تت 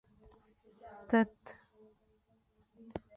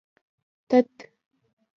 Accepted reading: first